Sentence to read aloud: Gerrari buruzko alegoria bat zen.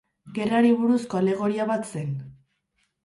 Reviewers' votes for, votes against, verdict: 2, 0, accepted